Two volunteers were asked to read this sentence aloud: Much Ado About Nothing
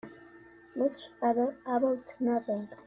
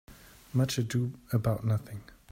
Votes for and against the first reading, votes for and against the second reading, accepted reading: 0, 2, 3, 0, second